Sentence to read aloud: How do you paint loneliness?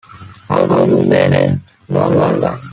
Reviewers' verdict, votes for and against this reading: rejected, 0, 3